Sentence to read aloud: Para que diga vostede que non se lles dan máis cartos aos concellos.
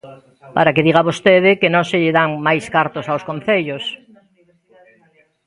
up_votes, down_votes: 1, 2